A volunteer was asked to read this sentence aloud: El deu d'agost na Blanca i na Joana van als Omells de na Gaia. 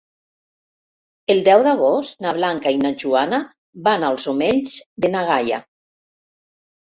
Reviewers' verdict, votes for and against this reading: rejected, 0, 2